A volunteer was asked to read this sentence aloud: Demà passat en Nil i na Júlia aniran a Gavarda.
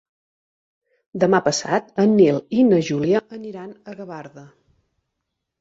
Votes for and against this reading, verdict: 2, 4, rejected